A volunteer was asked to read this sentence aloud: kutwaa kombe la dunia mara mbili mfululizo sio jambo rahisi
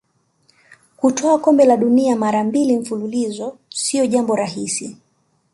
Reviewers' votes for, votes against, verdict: 2, 0, accepted